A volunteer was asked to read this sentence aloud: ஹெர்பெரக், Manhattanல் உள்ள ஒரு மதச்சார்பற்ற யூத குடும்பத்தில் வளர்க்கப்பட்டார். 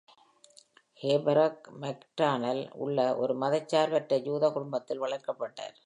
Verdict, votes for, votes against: rejected, 0, 2